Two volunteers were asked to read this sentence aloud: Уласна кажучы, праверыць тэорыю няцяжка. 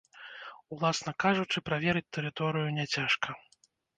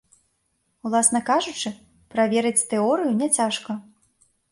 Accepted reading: second